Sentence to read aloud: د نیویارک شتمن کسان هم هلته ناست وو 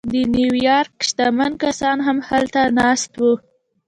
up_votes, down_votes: 2, 0